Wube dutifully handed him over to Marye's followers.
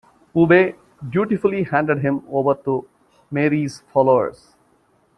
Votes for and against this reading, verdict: 2, 0, accepted